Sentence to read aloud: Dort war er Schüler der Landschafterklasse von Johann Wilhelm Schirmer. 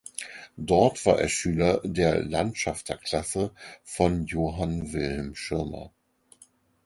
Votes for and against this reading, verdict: 4, 0, accepted